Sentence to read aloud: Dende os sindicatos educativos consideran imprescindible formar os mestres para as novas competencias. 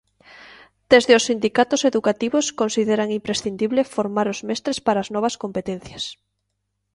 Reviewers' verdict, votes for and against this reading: rejected, 0, 2